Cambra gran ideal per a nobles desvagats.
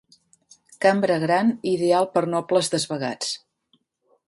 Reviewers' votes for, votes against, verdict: 0, 2, rejected